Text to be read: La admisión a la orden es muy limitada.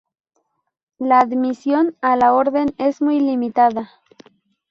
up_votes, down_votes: 4, 0